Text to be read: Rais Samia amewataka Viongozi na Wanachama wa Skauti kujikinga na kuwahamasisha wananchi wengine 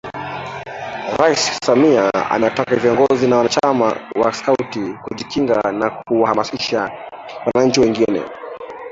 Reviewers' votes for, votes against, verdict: 0, 2, rejected